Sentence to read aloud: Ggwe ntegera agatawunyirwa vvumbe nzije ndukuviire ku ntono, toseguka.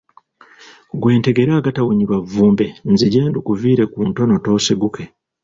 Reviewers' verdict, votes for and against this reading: rejected, 1, 2